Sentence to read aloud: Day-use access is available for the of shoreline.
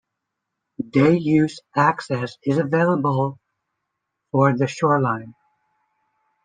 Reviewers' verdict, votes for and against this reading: rejected, 1, 2